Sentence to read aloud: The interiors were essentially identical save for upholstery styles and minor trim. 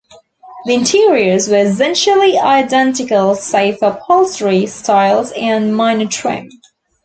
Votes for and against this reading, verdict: 3, 0, accepted